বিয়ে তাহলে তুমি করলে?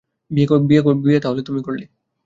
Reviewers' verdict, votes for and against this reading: rejected, 0, 2